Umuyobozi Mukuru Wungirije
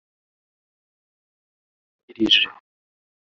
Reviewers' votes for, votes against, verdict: 0, 2, rejected